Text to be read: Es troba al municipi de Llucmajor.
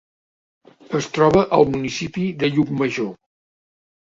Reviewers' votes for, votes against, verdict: 2, 0, accepted